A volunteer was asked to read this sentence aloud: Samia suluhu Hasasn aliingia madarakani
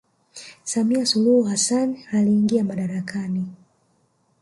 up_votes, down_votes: 0, 2